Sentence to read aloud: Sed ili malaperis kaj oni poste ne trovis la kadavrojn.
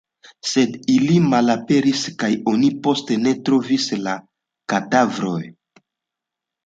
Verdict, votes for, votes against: accepted, 2, 0